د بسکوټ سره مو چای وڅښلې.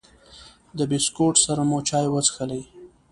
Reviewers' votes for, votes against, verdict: 3, 0, accepted